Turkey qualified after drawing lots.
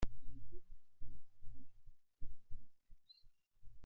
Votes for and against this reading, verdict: 0, 2, rejected